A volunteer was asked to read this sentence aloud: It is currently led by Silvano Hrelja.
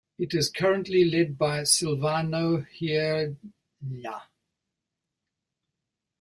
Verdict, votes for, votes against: rejected, 1, 2